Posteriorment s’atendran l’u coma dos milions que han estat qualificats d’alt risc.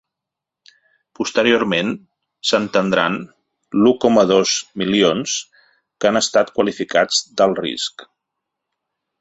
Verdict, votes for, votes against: rejected, 0, 2